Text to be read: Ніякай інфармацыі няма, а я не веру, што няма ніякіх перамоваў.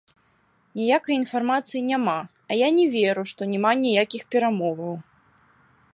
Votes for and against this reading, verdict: 2, 1, accepted